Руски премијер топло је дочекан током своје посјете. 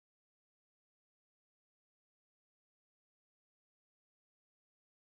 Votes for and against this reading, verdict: 0, 2, rejected